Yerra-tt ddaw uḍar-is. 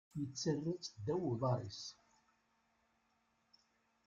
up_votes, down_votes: 1, 2